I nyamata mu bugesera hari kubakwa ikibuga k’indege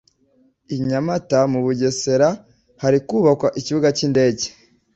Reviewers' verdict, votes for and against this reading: accepted, 2, 0